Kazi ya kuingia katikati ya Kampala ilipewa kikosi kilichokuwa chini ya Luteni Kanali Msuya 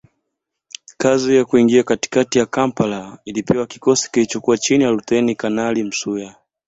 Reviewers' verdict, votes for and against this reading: accepted, 2, 0